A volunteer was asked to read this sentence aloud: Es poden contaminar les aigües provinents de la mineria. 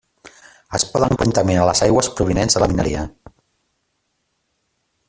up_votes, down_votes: 1, 2